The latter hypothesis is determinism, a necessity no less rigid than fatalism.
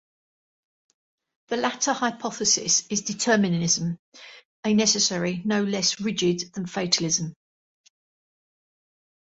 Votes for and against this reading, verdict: 0, 2, rejected